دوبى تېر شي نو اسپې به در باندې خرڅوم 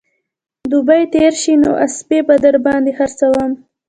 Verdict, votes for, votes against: rejected, 0, 2